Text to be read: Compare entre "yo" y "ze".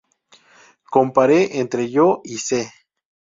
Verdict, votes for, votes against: rejected, 0, 2